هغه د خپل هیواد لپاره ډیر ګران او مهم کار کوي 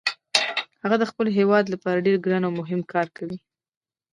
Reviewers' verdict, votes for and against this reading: rejected, 0, 3